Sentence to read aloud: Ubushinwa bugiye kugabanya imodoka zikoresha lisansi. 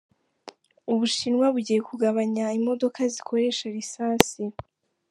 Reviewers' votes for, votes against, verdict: 2, 1, accepted